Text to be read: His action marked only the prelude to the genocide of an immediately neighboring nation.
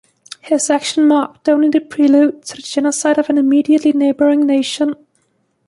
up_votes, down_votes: 2, 0